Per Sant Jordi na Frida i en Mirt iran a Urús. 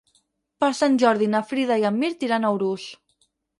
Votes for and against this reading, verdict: 6, 0, accepted